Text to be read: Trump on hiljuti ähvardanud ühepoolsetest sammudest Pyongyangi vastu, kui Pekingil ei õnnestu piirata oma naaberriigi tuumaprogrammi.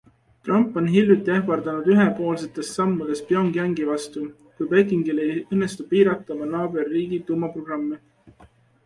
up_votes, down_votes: 2, 0